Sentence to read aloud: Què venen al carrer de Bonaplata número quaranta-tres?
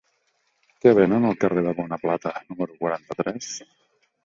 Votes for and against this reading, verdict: 1, 2, rejected